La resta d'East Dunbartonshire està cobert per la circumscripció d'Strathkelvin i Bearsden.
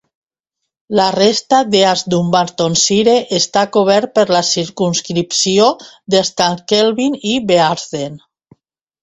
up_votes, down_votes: 2, 1